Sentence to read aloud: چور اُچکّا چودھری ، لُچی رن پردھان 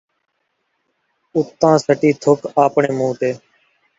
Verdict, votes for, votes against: rejected, 0, 2